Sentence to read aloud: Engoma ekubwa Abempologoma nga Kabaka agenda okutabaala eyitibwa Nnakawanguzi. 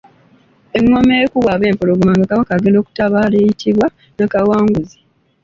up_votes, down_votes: 2, 0